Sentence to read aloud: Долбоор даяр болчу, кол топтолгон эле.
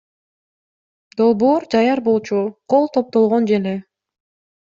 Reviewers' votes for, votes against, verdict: 0, 2, rejected